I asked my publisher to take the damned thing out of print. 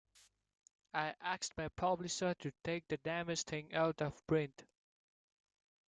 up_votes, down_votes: 2, 1